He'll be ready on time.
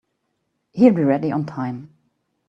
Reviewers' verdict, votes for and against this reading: accepted, 2, 0